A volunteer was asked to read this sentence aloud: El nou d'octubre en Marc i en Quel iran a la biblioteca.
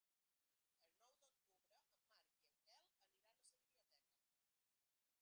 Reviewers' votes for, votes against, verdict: 0, 3, rejected